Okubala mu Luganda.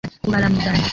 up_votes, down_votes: 0, 2